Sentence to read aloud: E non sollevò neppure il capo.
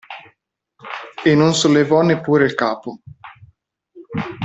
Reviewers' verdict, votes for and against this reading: accepted, 2, 0